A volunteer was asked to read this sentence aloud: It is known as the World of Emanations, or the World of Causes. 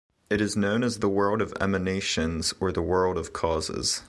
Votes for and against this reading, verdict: 2, 1, accepted